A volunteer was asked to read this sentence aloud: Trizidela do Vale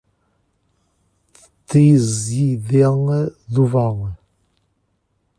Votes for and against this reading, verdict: 1, 2, rejected